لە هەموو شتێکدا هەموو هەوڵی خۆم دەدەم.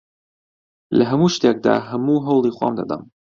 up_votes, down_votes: 2, 0